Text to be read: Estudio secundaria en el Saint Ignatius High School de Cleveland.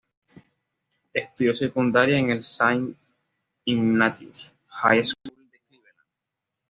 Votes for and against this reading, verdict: 1, 2, rejected